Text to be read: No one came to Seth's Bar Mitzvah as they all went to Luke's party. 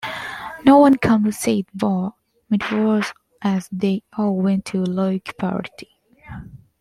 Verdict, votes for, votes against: rejected, 1, 2